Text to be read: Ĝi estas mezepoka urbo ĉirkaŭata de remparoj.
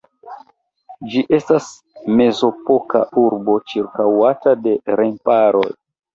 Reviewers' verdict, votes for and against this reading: rejected, 0, 2